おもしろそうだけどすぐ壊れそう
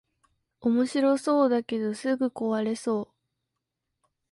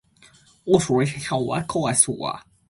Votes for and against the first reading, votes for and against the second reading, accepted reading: 2, 0, 1, 2, first